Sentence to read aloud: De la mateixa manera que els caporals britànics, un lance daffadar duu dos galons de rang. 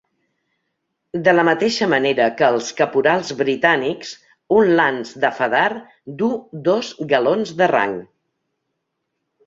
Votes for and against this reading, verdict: 2, 0, accepted